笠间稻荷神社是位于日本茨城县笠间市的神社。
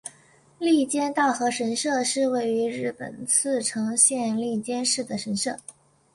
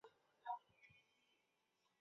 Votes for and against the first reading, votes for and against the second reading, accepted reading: 3, 0, 0, 2, first